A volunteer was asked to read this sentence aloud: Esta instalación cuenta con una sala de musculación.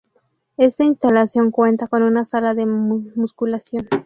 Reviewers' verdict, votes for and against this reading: rejected, 0, 2